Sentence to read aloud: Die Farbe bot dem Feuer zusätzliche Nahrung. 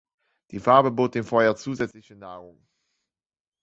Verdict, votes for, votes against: rejected, 1, 2